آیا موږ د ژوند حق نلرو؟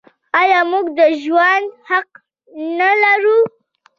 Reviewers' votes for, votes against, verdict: 1, 2, rejected